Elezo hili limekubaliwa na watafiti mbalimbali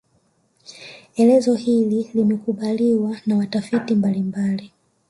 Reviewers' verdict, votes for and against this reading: rejected, 2, 3